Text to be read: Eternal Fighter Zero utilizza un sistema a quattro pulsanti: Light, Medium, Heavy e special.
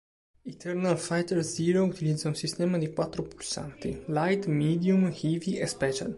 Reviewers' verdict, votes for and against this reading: rejected, 0, 2